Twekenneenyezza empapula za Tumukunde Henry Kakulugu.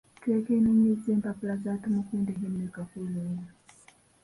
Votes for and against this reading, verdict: 0, 2, rejected